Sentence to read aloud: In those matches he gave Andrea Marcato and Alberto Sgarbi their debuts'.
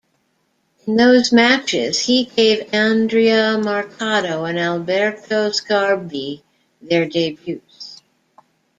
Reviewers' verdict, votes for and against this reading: rejected, 0, 2